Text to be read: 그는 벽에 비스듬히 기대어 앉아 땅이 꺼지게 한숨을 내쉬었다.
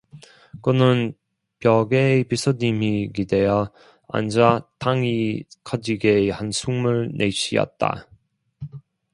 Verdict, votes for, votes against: rejected, 0, 2